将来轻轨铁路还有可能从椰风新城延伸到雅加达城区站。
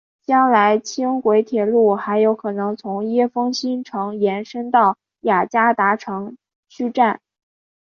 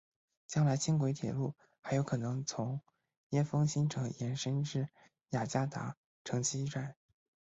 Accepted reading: first